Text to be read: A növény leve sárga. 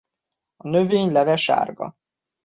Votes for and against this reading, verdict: 2, 0, accepted